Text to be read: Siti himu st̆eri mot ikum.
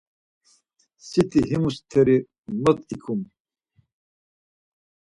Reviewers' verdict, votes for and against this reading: accepted, 4, 0